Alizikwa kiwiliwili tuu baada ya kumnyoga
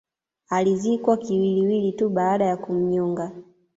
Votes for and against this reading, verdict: 2, 0, accepted